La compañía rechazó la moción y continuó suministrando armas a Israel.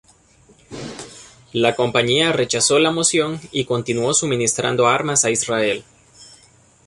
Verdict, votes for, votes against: accepted, 2, 0